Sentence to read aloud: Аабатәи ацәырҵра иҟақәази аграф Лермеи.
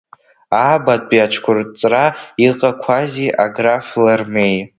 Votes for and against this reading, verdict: 1, 2, rejected